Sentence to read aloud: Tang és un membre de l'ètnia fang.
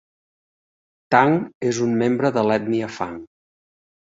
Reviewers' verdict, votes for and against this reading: accepted, 4, 0